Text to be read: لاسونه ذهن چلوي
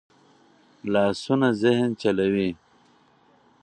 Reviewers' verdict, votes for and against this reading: rejected, 2, 2